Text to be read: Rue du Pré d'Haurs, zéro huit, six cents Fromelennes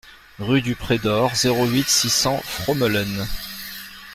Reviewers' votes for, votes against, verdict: 0, 2, rejected